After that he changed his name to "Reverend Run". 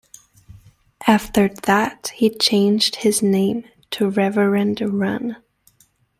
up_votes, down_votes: 2, 0